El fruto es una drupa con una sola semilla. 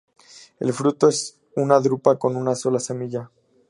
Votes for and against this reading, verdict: 2, 0, accepted